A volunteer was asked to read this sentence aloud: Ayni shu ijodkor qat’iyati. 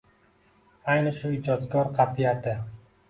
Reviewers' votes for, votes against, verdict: 2, 0, accepted